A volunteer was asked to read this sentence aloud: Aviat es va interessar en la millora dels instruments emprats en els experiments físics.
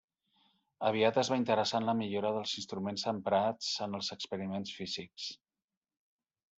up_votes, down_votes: 1, 2